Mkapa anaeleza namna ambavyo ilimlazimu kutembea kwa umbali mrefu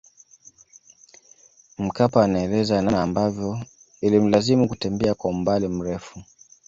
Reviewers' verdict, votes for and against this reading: accepted, 2, 0